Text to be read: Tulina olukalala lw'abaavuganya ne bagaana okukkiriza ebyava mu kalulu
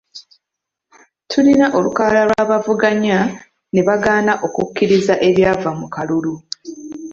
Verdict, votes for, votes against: accepted, 2, 1